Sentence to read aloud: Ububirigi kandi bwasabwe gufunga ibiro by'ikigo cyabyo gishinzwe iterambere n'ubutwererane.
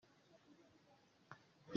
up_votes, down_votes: 0, 2